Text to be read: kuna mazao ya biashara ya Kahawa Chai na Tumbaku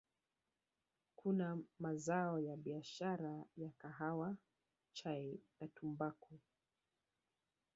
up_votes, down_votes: 1, 2